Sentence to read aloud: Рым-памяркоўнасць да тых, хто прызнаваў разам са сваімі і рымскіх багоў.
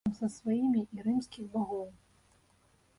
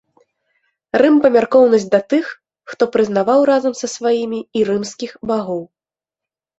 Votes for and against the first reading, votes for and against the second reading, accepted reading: 0, 2, 2, 0, second